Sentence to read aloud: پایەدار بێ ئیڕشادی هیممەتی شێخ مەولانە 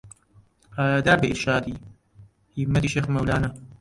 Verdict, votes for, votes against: rejected, 0, 2